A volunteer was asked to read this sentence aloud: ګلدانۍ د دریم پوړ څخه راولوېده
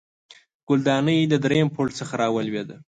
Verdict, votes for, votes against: accepted, 3, 0